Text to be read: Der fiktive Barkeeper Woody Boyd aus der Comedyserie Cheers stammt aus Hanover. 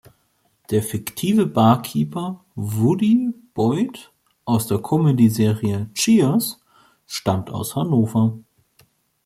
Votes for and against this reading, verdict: 2, 0, accepted